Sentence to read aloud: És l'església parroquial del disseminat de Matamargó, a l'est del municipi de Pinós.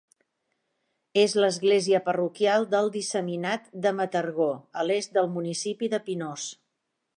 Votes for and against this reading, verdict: 0, 2, rejected